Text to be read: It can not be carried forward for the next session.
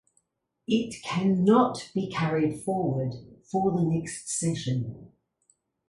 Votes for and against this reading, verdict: 0, 2, rejected